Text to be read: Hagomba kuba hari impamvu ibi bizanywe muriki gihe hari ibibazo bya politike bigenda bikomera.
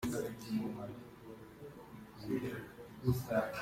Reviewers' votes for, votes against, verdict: 0, 2, rejected